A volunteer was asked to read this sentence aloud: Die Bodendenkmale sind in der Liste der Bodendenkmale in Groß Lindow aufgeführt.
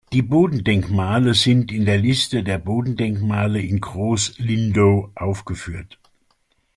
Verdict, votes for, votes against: accepted, 2, 0